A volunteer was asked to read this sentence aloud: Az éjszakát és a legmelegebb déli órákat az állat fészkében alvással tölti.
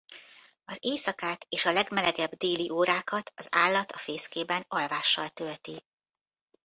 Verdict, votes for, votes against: rejected, 1, 2